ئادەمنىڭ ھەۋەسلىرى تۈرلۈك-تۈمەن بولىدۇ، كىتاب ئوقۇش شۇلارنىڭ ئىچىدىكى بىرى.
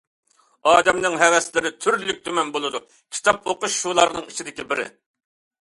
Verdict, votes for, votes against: accepted, 2, 0